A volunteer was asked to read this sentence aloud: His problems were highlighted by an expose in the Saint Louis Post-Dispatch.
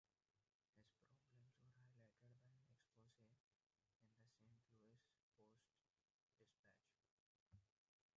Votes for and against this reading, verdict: 0, 2, rejected